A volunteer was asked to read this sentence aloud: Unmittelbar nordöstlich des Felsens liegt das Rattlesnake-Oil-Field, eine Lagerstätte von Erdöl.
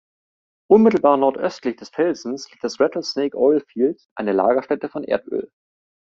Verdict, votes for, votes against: accepted, 2, 0